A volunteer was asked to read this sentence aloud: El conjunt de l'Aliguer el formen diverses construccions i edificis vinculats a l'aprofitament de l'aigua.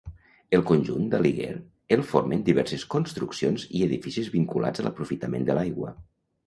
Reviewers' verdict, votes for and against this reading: rejected, 0, 2